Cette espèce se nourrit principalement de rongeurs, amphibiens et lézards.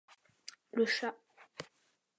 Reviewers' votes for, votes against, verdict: 0, 2, rejected